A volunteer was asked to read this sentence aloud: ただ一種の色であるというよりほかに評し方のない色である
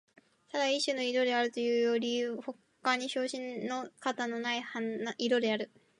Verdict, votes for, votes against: rejected, 0, 2